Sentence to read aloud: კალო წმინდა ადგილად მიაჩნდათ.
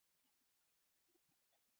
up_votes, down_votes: 0, 2